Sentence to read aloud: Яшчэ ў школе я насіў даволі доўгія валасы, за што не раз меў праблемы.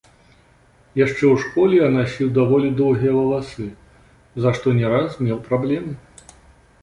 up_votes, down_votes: 2, 1